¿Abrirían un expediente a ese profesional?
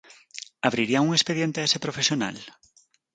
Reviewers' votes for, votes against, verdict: 4, 0, accepted